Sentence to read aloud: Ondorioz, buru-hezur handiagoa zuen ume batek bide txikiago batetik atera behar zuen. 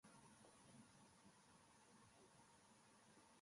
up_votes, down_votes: 0, 2